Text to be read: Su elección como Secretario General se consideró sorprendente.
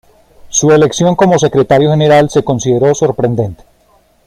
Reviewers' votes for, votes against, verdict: 2, 0, accepted